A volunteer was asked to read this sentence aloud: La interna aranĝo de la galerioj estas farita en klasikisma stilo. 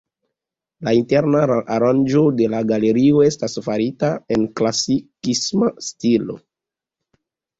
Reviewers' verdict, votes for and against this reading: accepted, 3, 0